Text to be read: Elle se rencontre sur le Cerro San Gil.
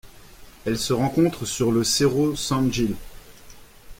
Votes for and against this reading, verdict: 2, 0, accepted